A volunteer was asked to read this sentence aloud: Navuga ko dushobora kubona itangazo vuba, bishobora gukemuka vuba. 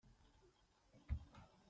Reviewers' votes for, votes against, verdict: 0, 3, rejected